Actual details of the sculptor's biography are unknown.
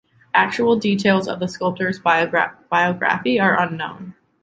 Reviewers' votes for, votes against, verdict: 0, 2, rejected